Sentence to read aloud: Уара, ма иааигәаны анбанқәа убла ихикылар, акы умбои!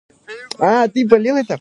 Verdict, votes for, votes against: rejected, 2, 3